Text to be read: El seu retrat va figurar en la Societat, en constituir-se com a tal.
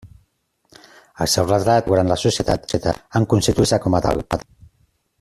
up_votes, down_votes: 0, 2